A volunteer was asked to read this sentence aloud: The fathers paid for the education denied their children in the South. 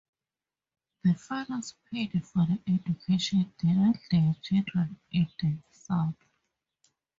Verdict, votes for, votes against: accepted, 2, 0